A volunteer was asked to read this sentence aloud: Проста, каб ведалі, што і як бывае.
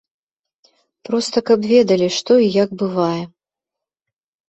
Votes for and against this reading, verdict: 2, 0, accepted